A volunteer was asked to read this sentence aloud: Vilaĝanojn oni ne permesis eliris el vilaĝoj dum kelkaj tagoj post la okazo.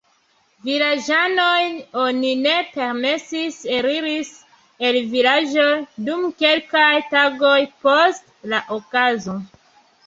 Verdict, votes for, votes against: accepted, 2, 0